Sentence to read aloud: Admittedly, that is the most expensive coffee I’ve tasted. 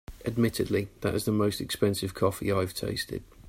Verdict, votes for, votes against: accepted, 3, 0